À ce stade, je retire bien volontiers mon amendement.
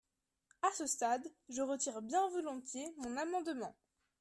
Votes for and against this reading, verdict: 2, 0, accepted